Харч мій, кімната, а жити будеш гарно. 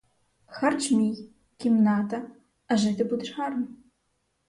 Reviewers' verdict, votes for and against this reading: accepted, 4, 0